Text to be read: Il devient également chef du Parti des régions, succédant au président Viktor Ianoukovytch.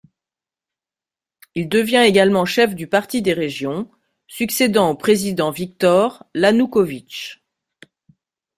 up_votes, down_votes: 2, 4